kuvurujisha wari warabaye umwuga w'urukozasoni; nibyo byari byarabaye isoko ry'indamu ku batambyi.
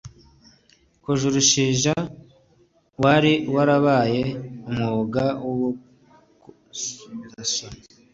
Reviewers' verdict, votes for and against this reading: rejected, 1, 2